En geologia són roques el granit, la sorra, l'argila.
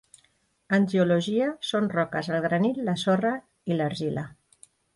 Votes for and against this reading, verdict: 1, 2, rejected